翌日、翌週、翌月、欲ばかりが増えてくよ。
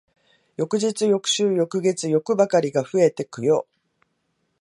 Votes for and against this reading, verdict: 2, 1, accepted